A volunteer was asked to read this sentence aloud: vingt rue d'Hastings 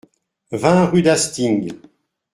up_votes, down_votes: 2, 0